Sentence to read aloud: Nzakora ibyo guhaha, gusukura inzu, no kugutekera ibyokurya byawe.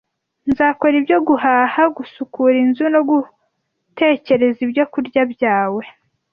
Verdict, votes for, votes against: rejected, 1, 2